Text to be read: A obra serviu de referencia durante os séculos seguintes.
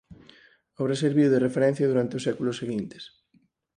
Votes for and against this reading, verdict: 4, 0, accepted